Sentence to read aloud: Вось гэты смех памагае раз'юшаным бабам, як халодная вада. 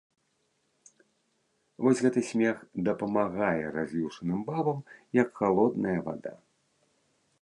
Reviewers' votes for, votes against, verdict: 0, 2, rejected